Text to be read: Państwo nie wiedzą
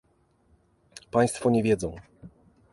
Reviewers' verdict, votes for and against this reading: accepted, 2, 0